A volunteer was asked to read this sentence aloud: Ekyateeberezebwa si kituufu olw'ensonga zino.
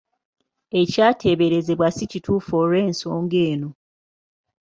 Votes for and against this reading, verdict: 0, 2, rejected